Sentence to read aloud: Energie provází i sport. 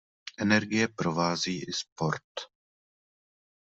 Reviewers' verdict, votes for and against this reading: accepted, 2, 0